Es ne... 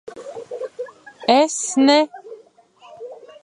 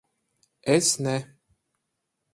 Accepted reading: second